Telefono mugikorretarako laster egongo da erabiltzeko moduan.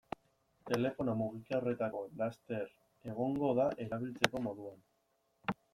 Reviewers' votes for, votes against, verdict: 1, 2, rejected